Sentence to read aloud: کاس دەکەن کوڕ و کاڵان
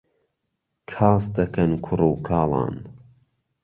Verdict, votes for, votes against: accepted, 2, 1